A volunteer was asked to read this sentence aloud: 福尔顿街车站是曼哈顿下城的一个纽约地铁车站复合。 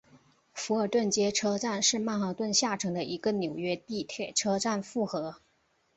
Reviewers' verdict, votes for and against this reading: accepted, 3, 0